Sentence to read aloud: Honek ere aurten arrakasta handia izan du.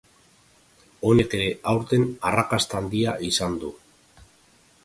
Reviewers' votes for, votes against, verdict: 1, 2, rejected